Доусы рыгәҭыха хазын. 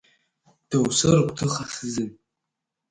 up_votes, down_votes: 1, 3